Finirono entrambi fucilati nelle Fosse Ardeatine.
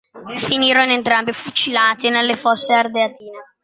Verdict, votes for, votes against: accepted, 2, 0